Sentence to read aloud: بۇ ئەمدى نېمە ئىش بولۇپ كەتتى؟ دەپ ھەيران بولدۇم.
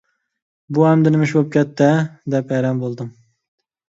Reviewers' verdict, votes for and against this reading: rejected, 0, 2